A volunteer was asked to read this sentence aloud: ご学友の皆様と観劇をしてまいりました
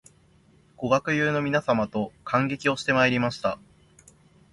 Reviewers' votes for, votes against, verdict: 0, 2, rejected